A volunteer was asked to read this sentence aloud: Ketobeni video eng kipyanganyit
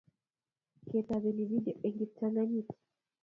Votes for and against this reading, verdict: 0, 2, rejected